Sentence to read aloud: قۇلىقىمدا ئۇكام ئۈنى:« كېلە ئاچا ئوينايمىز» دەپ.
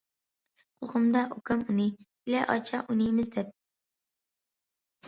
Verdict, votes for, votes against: rejected, 1, 2